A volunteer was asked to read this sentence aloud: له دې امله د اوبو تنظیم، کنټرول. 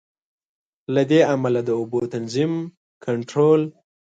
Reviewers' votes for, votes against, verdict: 2, 0, accepted